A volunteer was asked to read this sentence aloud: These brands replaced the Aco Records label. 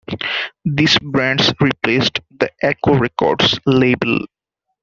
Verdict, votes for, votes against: accepted, 2, 0